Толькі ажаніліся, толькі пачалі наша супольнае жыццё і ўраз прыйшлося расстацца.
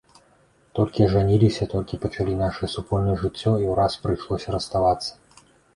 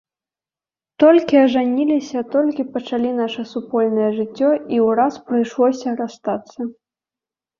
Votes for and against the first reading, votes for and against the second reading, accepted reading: 1, 2, 2, 0, second